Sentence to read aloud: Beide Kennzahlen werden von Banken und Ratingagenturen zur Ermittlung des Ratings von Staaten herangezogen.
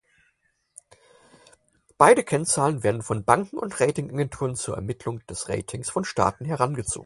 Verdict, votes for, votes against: accepted, 4, 2